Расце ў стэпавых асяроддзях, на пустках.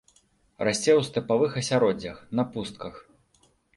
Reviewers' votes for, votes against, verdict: 1, 2, rejected